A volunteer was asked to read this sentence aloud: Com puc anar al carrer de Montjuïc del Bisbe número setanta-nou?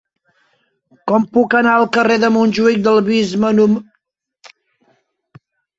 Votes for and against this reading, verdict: 0, 2, rejected